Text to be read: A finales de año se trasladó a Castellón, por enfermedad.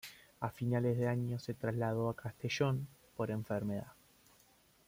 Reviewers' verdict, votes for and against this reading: accepted, 2, 0